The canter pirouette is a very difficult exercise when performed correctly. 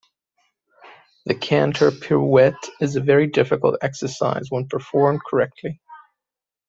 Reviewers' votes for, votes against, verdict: 2, 0, accepted